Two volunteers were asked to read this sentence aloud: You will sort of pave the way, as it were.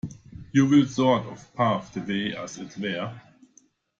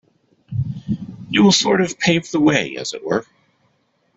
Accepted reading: second